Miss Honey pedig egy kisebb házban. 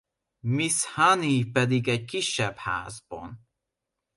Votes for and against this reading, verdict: 2, 0, accepted